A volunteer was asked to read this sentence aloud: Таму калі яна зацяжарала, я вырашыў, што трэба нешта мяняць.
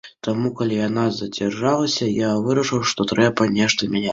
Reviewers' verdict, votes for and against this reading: rejected, 0, 2